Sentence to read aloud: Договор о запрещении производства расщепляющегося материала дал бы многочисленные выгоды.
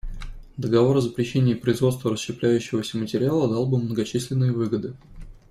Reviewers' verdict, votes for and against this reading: accepted, 2, 0